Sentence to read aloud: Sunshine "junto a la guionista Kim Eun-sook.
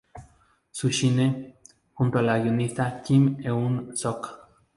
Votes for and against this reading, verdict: 2, 0, accepted